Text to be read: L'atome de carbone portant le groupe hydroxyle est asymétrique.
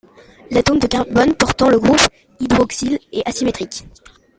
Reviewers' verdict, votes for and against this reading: rejected, 0, 2